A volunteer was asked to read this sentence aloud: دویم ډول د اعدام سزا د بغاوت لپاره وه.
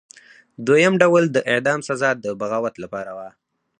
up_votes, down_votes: 4, 0